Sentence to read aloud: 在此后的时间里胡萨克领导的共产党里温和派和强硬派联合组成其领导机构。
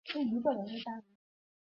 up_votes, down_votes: 0, 2